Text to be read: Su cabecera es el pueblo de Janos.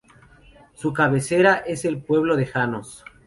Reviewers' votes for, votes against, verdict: 0, 2, rejected